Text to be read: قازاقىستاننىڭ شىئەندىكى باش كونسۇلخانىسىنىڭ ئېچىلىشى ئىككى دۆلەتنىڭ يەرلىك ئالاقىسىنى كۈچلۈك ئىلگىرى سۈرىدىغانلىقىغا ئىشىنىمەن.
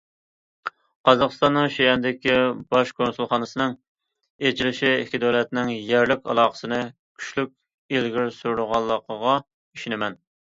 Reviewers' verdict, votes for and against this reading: accepted, 2, 0